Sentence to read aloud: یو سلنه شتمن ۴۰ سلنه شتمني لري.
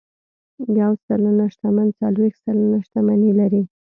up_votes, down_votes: 0, 2